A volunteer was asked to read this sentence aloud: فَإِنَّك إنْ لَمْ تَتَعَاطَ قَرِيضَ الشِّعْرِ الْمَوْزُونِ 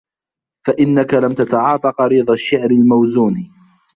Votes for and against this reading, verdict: 2, 1, accepted